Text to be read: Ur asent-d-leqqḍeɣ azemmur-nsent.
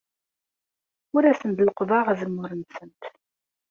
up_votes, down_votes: 1, 2